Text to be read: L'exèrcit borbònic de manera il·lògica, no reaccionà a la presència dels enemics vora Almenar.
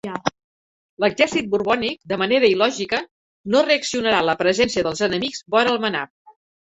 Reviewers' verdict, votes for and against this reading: rejected, 0, 2